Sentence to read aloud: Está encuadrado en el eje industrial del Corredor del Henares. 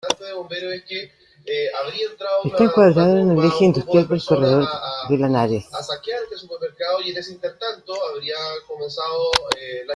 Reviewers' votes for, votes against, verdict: 0, 2, rejected